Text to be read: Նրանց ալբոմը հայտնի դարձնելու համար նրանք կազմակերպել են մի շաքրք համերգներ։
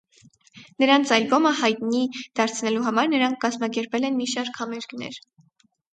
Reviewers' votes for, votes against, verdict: 2, 4, rejected